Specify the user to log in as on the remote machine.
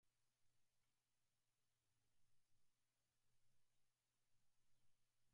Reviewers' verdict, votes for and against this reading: rejected, 0, 2